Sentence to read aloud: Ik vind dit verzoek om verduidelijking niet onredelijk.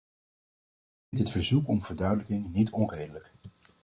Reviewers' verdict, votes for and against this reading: rejected, 1, 2